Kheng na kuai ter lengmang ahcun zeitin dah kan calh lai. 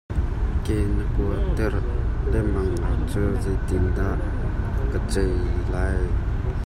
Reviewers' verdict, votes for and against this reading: rejected, 1, 2